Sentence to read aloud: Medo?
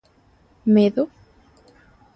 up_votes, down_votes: 2, 0